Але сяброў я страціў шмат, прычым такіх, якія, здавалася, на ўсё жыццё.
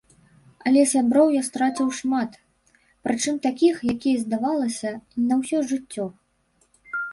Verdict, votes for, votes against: rejected, 1, 2